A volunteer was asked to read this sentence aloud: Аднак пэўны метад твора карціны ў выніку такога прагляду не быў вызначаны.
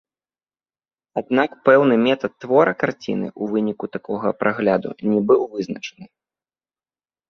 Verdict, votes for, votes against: accepted, 2, 0